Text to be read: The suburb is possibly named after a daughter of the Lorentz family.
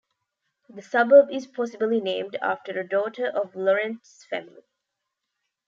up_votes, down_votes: 1, 2